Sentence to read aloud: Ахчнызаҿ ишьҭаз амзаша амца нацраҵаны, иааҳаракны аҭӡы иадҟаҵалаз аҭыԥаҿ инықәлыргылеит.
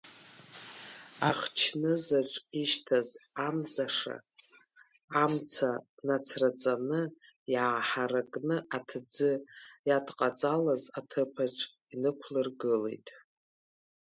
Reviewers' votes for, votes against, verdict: 0, 2, rejected